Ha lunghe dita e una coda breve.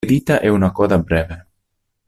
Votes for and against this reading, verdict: 0, 2, rejected